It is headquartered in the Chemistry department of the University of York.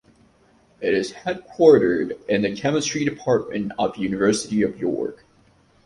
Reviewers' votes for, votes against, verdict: 0, 2, rejected